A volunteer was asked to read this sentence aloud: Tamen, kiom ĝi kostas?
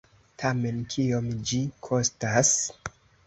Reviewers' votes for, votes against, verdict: 2, 0, accepted